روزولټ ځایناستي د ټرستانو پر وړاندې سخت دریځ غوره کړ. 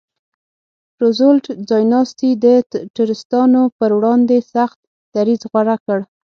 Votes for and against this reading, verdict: 3, 6, rejected